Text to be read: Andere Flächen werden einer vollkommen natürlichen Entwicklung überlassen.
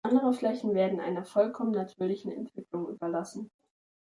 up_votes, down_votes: 2, 0